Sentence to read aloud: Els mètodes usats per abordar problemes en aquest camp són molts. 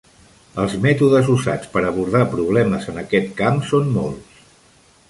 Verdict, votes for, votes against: rejected, 1, 2